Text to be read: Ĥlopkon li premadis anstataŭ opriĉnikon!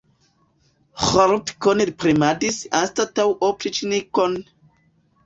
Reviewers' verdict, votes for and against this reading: rejected, 0, 2